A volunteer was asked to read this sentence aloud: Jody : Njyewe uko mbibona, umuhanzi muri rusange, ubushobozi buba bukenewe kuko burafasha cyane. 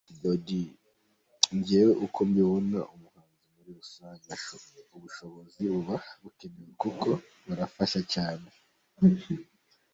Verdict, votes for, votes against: rejected, 1, 2